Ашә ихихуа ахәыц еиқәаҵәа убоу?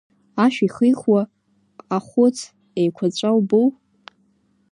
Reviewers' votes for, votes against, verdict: 1, 2, rejected